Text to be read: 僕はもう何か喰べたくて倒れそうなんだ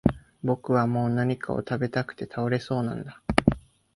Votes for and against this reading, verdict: 0, 2, rejected